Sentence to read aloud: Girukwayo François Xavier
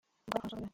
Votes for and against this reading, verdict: 0, 2, rejected